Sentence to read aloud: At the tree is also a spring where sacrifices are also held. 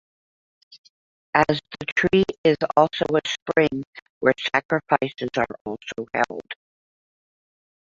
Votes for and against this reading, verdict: 1, 2, rejected